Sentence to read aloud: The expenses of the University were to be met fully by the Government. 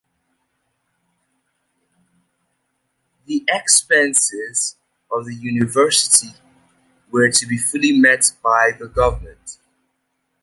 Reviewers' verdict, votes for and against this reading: rejected, 0, 2